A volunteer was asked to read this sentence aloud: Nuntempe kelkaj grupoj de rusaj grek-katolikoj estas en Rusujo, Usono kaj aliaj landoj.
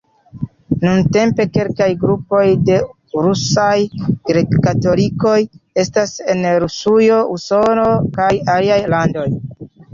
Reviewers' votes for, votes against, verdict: 2, 0, accepted